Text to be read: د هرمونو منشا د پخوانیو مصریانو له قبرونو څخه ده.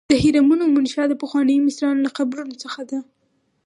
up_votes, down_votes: 4, 0